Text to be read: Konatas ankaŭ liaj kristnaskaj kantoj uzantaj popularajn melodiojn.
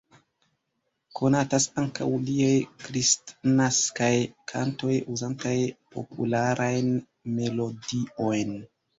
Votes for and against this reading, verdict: 0, 2, rejected